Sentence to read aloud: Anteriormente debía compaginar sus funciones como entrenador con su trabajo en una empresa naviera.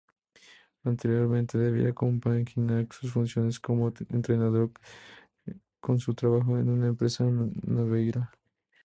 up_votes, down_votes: 2, 0